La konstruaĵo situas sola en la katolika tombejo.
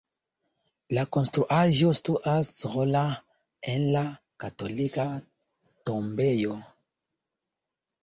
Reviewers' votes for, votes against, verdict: 0, 3, rejected